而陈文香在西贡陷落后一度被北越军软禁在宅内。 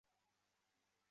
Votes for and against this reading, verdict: 3, 6, rejected